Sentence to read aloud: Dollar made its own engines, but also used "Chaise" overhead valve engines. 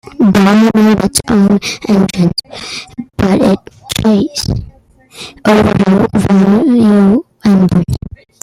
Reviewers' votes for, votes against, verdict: 0, 2, rejected